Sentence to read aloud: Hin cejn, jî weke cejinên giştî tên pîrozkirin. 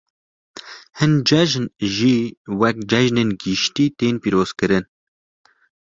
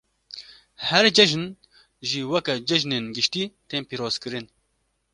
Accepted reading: first